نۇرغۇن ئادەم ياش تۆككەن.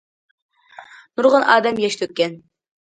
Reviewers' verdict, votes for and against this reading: accepted, 2, 0